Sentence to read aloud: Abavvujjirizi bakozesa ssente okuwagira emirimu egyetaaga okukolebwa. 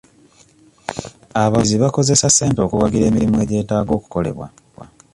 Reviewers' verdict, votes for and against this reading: rejected, 0, 2